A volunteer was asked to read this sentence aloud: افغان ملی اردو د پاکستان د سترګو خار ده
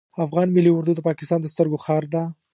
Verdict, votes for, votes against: accepted, 2, 0